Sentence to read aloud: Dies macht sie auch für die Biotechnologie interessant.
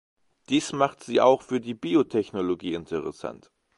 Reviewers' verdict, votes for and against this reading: accepted, 2, 0